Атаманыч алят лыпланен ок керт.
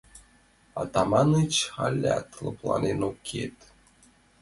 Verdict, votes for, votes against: accepted, 2, 0